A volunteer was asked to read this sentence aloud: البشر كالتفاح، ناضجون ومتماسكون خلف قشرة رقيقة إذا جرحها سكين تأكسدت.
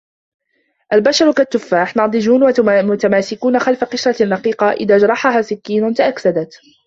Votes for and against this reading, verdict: 1, 2, rejected